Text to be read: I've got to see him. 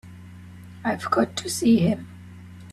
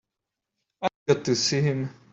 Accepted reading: first